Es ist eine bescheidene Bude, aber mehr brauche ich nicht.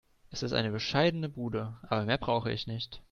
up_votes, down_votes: 2, 0